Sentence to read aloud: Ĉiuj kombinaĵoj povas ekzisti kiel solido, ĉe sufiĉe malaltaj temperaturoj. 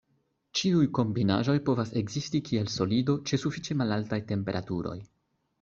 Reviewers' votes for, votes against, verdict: 2, 0, accepted